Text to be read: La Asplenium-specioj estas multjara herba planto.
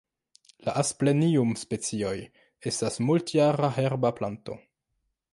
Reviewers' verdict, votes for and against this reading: rejected, 1, 2